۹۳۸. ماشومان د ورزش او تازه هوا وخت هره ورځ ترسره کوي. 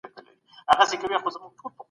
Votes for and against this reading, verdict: 0, 2, rejected